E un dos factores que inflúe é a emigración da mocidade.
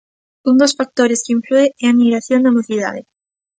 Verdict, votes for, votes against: rejected, 0, 2